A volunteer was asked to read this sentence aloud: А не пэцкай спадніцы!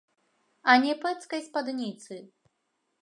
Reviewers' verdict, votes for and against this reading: accepted, 2, 0